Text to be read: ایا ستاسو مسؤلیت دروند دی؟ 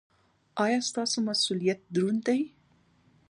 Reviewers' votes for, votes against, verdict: 1, 2, rejected